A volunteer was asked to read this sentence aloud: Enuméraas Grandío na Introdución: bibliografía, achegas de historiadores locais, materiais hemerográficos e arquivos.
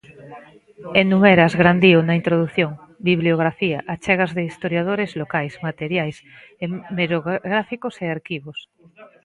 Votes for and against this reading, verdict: 0, 2, rejected